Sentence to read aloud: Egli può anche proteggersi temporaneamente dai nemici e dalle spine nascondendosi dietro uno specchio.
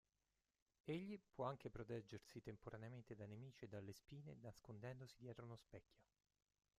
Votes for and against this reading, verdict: 0, 2, rejected